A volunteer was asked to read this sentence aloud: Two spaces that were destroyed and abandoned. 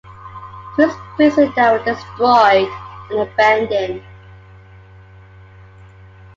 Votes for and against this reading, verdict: 1, 2, rejected